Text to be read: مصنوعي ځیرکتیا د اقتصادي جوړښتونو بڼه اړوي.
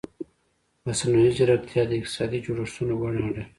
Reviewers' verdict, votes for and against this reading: accepted, 2, 1